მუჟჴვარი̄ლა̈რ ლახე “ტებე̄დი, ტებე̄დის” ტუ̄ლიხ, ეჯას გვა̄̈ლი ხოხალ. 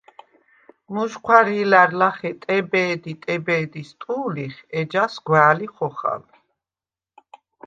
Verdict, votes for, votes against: accepted, 2, 0